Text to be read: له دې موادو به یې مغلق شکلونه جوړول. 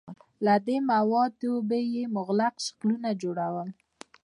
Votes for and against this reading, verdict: 2, 0, accepted